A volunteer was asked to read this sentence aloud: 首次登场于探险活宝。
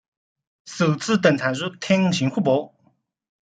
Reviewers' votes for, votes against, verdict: 2, 0, accepted